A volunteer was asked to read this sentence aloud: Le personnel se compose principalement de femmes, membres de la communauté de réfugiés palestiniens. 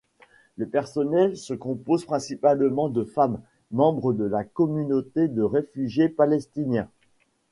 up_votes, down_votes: 2, 0